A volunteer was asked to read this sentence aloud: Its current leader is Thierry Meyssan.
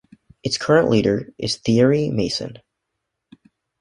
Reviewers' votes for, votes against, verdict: 2, 0, accepted